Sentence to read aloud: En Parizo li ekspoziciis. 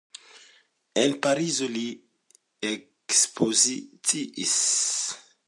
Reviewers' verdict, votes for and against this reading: rejected, 1, 2